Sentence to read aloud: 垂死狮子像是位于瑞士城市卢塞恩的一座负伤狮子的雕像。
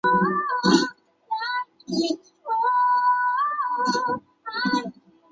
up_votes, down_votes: 0, 2